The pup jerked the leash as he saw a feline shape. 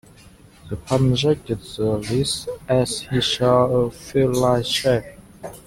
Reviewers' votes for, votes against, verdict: 0, 2, rejected